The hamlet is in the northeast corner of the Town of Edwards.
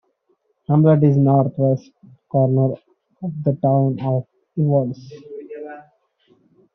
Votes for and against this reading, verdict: 0, 2, rejected